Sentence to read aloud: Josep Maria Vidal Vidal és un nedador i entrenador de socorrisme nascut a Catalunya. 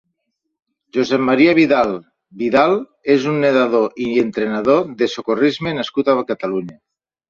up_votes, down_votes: 0, 2